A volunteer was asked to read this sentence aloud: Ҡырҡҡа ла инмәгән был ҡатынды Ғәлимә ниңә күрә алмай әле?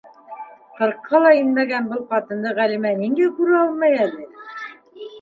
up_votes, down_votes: 0, 2